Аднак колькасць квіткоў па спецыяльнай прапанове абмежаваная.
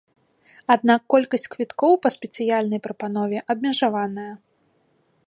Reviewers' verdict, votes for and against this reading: accepted, 2, 0